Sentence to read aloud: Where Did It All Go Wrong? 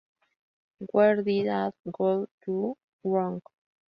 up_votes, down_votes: 0, 2